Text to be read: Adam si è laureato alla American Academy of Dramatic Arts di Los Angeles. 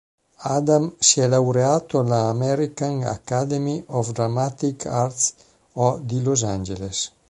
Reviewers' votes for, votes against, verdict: 0, 2, rejected